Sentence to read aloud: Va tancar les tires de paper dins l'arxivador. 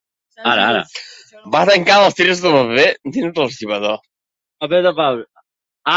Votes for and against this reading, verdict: 0, 2, rejected